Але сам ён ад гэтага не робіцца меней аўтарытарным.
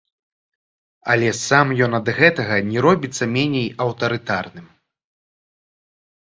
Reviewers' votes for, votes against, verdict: 1, 3, rejected